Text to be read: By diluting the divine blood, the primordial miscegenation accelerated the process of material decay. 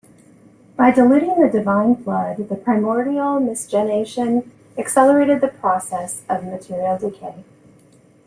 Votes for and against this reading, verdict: 1, 2, rejected